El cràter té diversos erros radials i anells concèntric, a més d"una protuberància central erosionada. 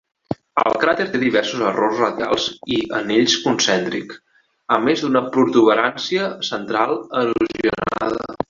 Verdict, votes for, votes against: rejected, 0, 4